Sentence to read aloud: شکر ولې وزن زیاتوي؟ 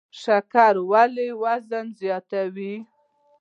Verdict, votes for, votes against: accepted, 3, 0